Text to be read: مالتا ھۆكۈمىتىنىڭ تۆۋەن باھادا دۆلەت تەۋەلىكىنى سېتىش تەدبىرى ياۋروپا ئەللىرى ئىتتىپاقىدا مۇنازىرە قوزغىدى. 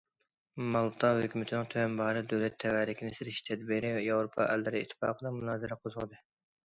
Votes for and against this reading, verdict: 2, 0, accepted